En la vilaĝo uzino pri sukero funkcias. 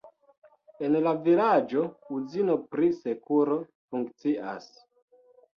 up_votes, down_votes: 2, 1